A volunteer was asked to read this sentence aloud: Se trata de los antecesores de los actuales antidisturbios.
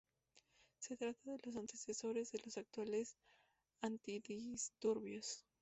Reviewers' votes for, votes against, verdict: 2, 0, accepted